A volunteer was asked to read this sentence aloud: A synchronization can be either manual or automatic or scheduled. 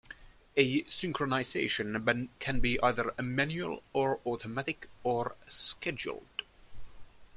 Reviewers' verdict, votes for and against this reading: rejected, 1, 2